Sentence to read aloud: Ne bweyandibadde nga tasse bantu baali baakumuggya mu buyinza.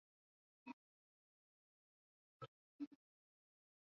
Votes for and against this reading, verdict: 0, 2, rejected